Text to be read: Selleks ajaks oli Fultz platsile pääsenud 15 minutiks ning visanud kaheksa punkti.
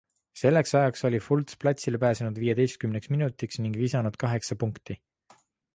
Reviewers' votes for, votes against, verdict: 0, 2, rejected